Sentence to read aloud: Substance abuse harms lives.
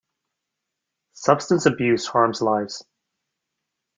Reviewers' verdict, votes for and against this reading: accepted, 2, 0